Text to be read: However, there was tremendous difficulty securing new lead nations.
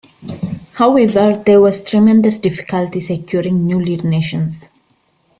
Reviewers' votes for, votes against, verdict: 2, 0, accepted